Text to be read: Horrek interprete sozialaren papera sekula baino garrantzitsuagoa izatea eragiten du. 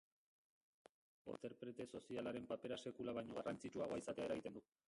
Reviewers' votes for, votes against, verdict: 1, 2, rejected